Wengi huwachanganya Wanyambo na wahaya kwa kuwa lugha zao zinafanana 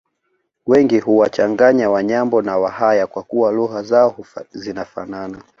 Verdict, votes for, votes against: accepted, 2, 0